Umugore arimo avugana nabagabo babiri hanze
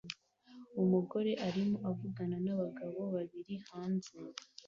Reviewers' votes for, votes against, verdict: 2, 0, accepted